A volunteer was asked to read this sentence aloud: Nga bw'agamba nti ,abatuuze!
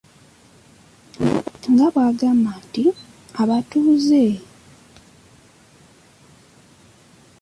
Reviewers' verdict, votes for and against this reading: rejected, 1, 2